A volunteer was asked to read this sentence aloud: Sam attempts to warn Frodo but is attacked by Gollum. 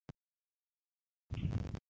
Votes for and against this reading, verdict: 0, 2, rejected